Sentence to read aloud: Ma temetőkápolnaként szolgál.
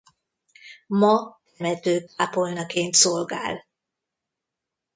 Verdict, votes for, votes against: rejected, 0, 2